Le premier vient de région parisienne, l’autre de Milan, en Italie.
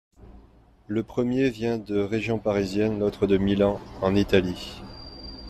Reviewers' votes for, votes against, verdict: 2, 0, accepted